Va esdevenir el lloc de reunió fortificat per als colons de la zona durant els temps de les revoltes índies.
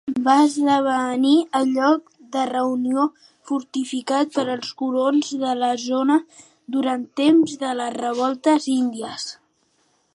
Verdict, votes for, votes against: rejected, 1, 2